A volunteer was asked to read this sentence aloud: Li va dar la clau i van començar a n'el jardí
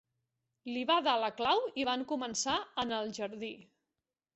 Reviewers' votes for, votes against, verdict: 2, 0, accepted